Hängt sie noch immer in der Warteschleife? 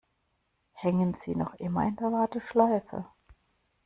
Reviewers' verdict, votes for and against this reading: rejected, 0, 2